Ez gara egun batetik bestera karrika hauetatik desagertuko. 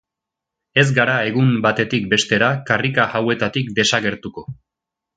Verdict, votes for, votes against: accepted, 2, 0